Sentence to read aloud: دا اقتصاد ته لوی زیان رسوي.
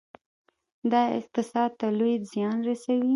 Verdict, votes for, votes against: accepted, 2, 1